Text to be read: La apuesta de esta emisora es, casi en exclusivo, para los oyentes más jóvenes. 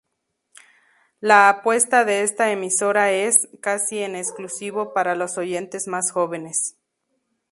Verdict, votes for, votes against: accepted, 6, 0